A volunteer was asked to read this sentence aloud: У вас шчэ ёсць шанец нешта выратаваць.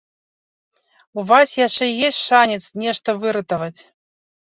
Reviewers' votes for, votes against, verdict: 0, 2, rejected